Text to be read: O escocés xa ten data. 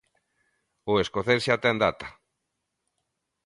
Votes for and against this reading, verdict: 2, 0, accepted